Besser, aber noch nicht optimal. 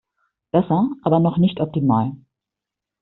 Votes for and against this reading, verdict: 2, 0, accepted